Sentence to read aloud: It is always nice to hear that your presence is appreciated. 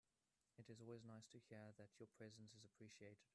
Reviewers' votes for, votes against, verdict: 1, 2, rejected